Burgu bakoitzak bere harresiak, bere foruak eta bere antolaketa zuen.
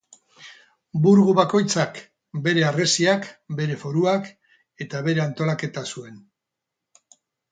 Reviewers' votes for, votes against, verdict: 4, 0, accepted